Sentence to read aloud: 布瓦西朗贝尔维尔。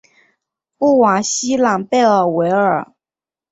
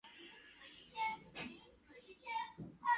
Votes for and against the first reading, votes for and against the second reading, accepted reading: 3, 0, 1, 4, first